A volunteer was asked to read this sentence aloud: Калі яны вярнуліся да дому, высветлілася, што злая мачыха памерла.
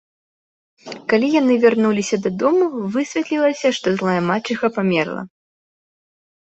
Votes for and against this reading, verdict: 1, 2, rejected